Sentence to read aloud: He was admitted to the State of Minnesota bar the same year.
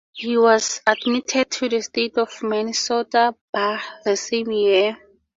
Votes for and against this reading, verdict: 2, 0, accepted